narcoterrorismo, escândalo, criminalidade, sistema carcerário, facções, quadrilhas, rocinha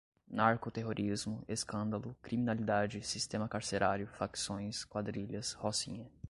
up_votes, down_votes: 2, 0